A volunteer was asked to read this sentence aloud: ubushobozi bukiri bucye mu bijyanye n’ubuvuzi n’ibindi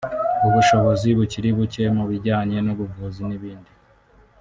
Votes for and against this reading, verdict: 0, 2, rejected